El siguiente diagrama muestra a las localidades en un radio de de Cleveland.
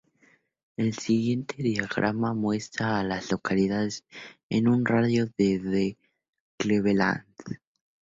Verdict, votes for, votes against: accepted, 2, 0